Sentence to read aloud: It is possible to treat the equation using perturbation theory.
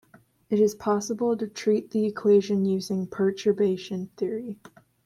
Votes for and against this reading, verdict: 2, 0, accepted